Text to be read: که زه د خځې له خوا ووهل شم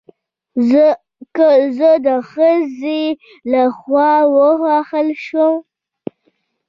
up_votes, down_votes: 2, 0